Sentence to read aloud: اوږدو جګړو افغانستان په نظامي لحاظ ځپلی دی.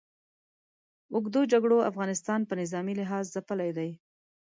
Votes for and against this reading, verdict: 2, 0, accepted